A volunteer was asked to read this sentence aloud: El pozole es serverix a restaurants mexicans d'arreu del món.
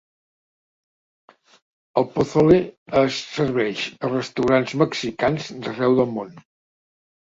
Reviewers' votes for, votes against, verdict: 3, 4, rejected